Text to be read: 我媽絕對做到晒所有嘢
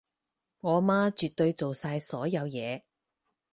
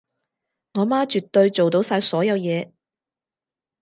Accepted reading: second